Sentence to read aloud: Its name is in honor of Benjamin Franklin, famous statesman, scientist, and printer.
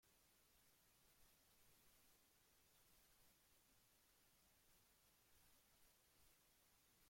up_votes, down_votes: 0, 2